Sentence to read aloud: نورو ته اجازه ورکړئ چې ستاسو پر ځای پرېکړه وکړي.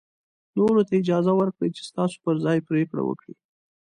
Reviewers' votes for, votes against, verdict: 4, 0, accepted